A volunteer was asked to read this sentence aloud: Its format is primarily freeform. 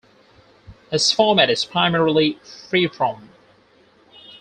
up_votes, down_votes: 2, 4